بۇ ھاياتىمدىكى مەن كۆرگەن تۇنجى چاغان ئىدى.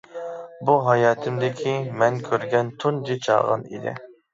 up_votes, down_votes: 2, 0